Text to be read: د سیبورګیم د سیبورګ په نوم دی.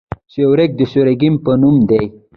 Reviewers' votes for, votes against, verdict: 1, 2, rejected